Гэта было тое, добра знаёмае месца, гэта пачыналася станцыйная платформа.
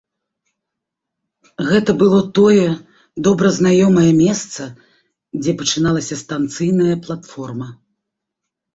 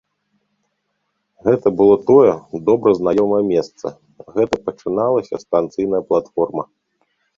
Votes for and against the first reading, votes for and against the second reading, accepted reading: 0, 2, 2, 1, second